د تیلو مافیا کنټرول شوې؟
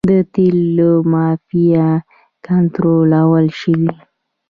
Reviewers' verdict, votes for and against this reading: rejected, 1, 2